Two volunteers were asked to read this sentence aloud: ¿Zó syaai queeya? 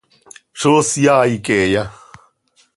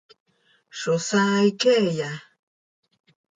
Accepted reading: first